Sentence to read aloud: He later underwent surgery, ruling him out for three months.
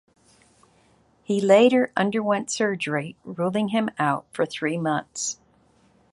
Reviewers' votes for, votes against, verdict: 2, 0, accepted